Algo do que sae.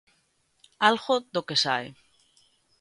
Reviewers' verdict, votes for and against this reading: accepted, 2, 0